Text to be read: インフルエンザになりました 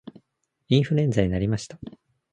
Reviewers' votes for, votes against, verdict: 2, 0, accepted